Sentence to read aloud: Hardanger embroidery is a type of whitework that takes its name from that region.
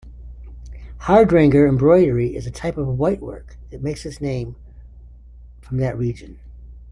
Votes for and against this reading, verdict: 2, 0, accepted